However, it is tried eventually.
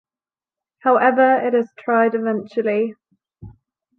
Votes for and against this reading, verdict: 2, 0, accepted